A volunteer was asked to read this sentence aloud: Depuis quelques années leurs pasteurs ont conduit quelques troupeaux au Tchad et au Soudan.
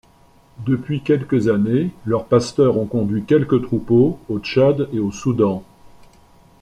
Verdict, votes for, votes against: accepted, 2, 0